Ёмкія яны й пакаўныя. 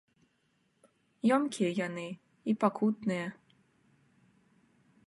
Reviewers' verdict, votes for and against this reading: rejected, 1, 2